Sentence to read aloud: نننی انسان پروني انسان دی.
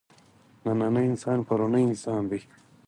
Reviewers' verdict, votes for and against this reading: rejected, 2, 4